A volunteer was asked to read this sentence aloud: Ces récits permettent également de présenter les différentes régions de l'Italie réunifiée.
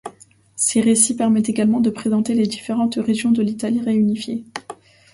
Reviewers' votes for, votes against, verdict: 2, 0, accepted